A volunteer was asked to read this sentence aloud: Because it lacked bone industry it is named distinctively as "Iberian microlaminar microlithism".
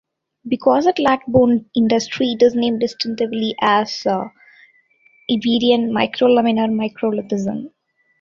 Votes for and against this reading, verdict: 0, 2, rejected